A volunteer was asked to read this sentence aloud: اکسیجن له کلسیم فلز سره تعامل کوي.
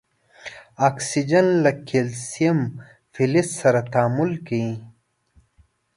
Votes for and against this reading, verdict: 2, 0, accepted